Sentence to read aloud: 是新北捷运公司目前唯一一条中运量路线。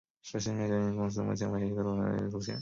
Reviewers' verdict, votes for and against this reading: rejected, 1, 2